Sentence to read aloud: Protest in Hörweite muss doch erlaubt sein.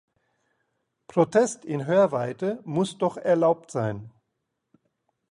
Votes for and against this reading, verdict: 2, 0, accepted